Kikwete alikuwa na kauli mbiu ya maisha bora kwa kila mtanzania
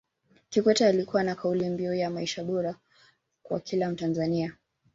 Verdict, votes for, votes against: accepted, 3, 1